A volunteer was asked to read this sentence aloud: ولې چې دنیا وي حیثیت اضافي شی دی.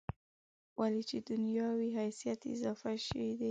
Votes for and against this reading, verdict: 3, 1, accepted